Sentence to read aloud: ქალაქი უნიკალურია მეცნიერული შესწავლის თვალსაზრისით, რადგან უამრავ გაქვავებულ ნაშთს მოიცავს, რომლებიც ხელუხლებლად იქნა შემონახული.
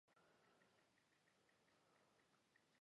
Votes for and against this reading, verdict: 0, 2, rejected